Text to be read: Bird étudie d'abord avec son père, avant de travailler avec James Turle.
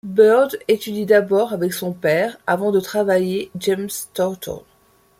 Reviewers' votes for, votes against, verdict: 0, 2, rejected